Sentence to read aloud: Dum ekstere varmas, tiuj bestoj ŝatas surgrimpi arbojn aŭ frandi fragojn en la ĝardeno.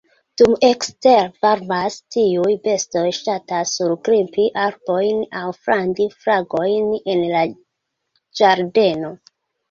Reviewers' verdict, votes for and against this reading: accepted, 2, 0